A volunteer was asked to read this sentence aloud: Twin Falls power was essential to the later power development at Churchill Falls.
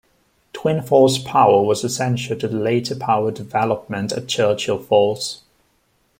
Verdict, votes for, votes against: accepted, 2, 0